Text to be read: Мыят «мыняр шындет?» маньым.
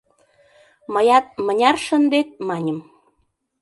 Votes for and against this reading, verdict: 2, 0, accepted